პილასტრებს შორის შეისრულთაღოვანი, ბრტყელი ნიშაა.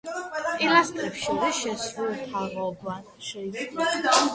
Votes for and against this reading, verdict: 0, 3, rejected